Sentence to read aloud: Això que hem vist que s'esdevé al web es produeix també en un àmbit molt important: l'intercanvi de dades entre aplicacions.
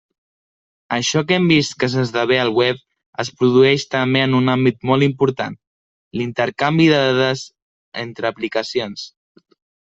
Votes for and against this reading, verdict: 2, 0, accepted